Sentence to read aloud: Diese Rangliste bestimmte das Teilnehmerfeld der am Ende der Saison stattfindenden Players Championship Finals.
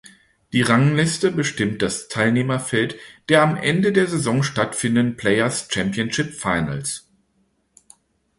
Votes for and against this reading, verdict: 2, 3, rejected